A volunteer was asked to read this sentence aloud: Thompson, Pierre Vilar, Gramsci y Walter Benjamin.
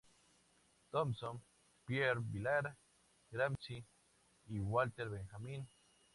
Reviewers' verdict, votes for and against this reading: accepted, 2, 0